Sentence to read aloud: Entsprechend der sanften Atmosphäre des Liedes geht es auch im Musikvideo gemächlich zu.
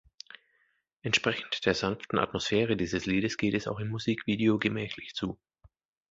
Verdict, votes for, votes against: rejected, 0, 2